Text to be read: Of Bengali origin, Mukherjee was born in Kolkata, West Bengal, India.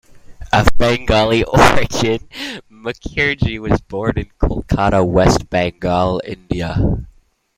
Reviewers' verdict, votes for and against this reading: accepted, 2, 1